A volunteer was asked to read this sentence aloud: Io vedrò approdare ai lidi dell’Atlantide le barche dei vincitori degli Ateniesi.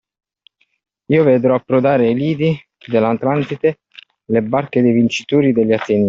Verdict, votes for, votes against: rejected, 0, 2